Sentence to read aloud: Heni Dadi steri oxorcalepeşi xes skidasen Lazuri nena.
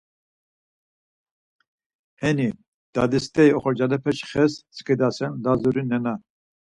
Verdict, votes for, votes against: accepted, 4, 0